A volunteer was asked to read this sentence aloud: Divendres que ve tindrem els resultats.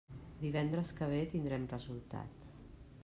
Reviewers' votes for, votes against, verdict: 0, 2, rejected